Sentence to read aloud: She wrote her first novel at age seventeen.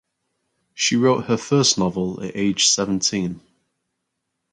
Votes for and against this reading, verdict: 4, 0, accepted